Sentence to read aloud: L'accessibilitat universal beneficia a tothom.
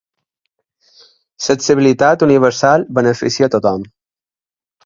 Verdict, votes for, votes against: rejected, 1, 2